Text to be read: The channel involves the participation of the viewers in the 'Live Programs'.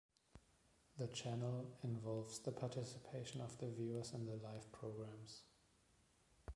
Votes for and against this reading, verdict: 1, 2, rejected